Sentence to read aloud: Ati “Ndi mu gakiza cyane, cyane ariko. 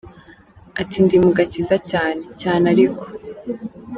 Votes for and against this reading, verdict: 2, 0, accepted